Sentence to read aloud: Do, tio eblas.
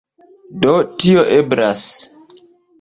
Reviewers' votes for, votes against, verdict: 1, 2, rejected